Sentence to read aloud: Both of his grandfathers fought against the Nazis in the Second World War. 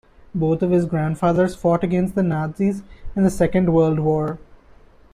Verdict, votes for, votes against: rejected, 1, 2